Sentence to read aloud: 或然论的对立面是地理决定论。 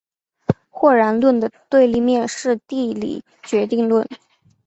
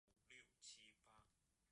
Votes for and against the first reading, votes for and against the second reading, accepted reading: 2, 0, 0, 4, first